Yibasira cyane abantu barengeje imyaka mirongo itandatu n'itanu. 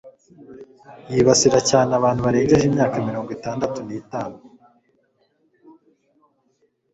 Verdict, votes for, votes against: accepted, 2, 0